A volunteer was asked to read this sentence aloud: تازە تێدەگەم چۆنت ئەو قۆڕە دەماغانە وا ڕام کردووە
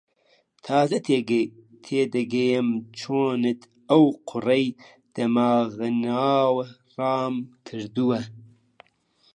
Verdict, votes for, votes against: rejected, 1, 2